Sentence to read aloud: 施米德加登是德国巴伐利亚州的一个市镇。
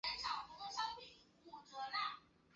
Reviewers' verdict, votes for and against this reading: rejected, 0, 4